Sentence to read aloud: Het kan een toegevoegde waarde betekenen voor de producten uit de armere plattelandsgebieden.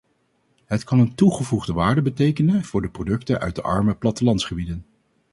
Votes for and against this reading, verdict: 2, 2, rejected